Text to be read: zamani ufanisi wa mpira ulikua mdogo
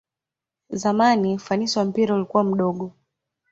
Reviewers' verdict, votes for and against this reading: accepted, 2, 0